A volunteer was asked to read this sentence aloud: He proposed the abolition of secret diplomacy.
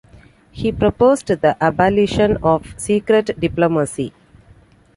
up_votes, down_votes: 2, 1